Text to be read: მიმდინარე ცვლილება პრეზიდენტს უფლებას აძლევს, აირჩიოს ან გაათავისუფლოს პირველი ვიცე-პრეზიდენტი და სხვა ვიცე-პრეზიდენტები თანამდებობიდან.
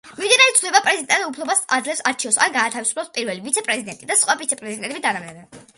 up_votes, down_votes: 0, 2